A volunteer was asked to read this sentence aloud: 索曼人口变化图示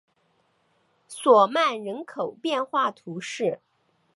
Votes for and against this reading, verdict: 2, 0, accepted